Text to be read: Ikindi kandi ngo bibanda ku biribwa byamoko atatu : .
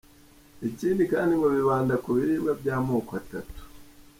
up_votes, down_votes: 3, 0